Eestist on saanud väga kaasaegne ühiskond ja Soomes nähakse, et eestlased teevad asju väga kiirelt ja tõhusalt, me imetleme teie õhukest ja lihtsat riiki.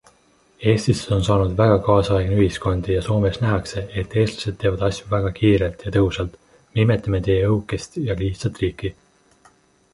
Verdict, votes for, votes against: accepted, 2, 0